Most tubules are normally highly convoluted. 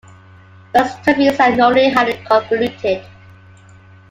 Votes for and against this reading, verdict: 0, 2, rejected